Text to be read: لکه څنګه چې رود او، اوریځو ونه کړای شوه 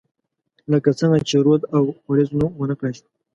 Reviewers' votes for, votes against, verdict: 1, 2, rejected